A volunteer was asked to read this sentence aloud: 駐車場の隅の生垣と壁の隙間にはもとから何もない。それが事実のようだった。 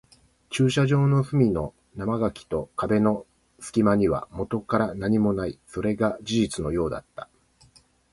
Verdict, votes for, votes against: rejected, 0, 2